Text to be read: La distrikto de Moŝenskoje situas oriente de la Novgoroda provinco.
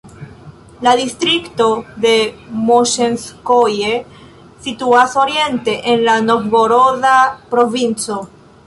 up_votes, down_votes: 0, 2